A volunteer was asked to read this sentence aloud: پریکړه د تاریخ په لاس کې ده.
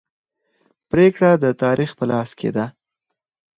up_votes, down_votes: 0, 4